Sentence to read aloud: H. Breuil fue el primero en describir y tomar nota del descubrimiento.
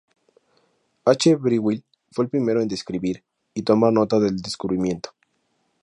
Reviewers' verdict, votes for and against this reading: accepted, 2, 0